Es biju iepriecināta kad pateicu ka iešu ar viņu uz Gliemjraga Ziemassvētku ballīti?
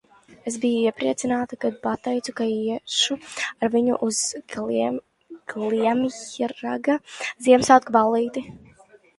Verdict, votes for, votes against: rejected, 0, 2